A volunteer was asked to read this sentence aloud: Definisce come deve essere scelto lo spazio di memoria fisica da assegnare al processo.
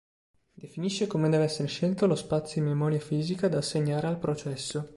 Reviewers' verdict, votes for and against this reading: rejected, 1, 2